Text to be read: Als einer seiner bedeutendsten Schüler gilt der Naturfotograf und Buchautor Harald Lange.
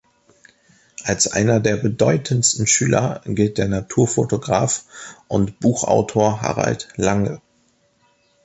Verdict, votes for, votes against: rejected, 0, 2